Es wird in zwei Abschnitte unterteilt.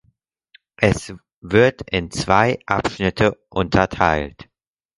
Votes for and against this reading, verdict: 6, 2, accepted